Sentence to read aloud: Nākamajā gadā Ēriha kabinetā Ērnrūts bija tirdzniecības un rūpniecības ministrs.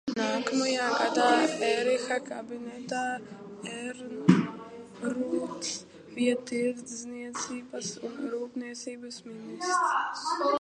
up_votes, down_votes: 0, 2